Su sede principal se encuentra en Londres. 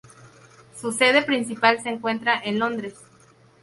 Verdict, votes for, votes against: accepted, 2, 0